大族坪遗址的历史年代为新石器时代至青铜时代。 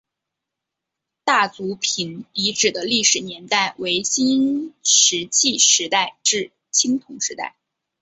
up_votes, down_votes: 2, 0